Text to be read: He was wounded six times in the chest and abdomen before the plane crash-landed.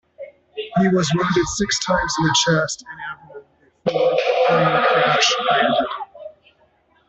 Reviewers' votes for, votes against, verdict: 0, 2, rejected